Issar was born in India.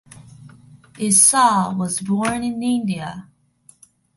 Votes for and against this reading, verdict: 2, 0, accepted